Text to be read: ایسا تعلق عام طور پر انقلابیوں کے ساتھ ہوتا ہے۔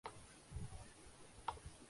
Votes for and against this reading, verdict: 0, 2, rejected